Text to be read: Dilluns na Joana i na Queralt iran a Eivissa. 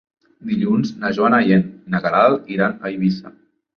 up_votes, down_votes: 0, 2